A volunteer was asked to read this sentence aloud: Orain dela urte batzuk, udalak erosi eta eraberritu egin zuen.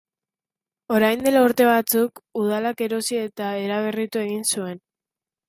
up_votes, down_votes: 2, 0